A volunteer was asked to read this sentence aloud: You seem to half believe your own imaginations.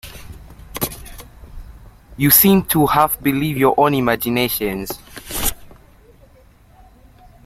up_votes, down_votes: 2, 1